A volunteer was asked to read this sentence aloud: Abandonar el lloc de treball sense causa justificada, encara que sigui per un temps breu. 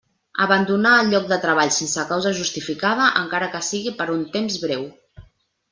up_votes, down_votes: 3, 0